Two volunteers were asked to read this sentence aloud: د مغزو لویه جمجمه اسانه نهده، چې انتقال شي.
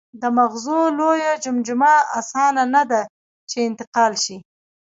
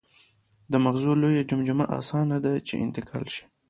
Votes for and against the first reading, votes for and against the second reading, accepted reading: 1, 2, 2, 1, second